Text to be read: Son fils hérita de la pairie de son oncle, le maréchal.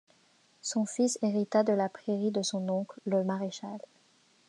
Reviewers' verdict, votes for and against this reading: rejected, 0, 2